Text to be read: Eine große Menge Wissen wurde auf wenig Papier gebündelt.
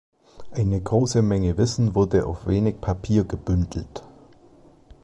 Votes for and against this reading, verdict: 2, 0, accepted